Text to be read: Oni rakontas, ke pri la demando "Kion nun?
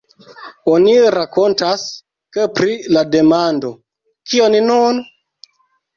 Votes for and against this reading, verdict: 1, 2, rejected